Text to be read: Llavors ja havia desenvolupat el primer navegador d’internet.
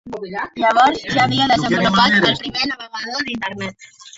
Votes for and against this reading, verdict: 1, 2, rejected